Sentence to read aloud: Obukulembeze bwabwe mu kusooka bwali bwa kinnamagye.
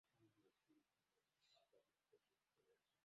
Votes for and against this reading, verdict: 0, 2, rejected